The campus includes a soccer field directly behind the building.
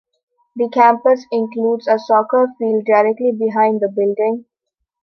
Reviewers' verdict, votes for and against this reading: accepted, 2, 0